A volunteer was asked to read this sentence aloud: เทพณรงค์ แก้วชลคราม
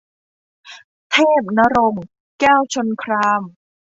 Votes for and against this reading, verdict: 2, 0, accepted